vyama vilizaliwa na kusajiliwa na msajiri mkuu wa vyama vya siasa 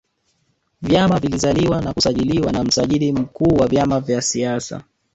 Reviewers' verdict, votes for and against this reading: rejected, 1, 3